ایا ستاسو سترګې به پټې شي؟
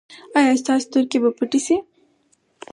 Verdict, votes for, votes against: accepted, 4, 0